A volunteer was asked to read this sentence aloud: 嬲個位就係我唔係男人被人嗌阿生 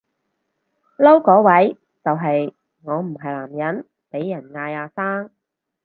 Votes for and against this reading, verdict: 2, 4, rejected